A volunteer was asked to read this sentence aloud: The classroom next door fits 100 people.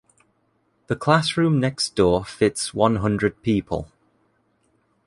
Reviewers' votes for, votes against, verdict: 0, 2, rejected